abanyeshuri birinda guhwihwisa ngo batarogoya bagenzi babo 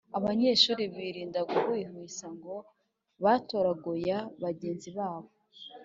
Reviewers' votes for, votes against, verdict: 2, 0, accepted